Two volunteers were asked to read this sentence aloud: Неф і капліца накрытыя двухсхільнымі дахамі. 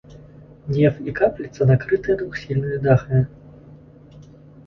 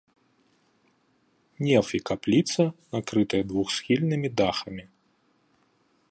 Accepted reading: second